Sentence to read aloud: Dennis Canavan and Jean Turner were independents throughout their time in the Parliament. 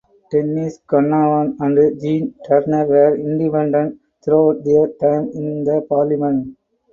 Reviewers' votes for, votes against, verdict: 0, 4, rejected